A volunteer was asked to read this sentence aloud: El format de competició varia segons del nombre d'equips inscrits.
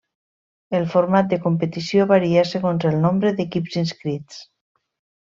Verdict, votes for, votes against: rejected, 1, 2